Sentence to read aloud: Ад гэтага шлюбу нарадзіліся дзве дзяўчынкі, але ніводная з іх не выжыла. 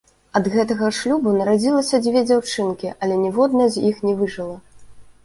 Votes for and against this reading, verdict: 1, 2, rejected